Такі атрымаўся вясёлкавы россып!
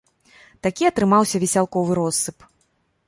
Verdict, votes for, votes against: rejected, 0, 2